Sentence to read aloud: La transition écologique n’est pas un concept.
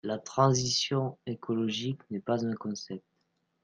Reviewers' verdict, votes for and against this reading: rejected, 1, 2